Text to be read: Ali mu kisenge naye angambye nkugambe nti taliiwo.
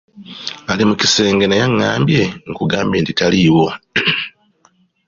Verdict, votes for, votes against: accepted, 2, 0